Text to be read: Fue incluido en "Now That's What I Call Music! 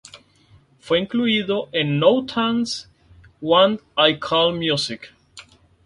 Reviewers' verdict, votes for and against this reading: rejected, 0, 2